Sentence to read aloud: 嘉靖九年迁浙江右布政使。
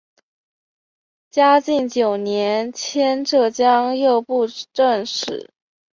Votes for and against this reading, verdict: 2, 0, accepted